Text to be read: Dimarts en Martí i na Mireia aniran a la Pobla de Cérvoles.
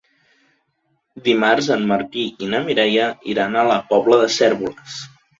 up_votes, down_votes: 0, 2